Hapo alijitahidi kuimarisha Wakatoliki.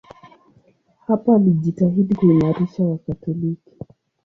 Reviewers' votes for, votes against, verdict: 2, 0, accepted